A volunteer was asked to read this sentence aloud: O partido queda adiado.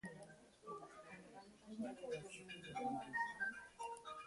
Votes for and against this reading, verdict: 0, 2, rejected